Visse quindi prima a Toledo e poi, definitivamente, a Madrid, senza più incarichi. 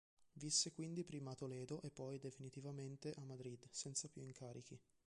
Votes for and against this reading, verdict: 2, 1, accepted